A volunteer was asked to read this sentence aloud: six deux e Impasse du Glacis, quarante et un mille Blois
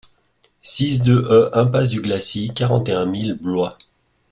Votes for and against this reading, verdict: 2, 0, accepted